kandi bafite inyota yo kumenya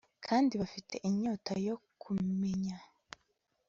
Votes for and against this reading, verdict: 2, 0, accepted